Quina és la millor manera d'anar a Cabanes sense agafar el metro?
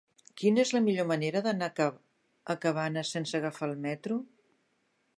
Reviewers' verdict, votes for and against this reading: rejected, 0, 2